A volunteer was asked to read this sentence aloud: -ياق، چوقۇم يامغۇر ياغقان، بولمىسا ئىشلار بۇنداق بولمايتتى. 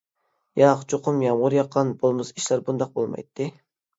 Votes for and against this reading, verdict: 2, 0, accepted